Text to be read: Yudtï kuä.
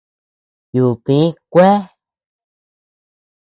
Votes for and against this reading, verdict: 1, 2, rejected